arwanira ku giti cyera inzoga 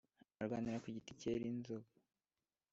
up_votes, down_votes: 2, 1